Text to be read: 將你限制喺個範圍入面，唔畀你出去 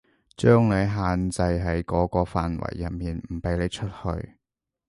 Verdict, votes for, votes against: rejected, 0, 2